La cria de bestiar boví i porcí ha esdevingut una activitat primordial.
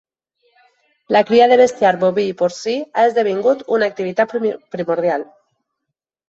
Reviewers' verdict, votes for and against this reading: rejected, 3, 4